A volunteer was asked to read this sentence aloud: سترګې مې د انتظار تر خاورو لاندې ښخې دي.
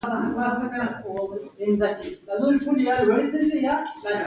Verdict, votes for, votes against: rejected, 1, 2